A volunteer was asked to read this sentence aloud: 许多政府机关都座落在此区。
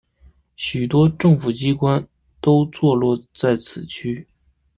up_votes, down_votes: 2, 0